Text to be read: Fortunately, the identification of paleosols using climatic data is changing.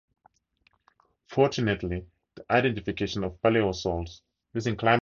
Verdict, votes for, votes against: rejected, 0, 4